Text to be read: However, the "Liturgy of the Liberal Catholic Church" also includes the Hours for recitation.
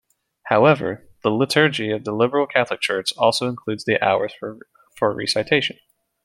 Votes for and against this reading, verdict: 0, 2, rejected